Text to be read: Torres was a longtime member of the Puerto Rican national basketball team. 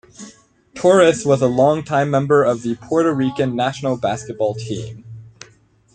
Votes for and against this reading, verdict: 2, 0, accepted